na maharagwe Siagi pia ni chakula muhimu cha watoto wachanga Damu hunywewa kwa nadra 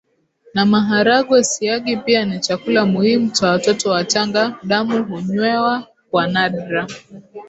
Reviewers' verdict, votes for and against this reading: accepted, 2, 0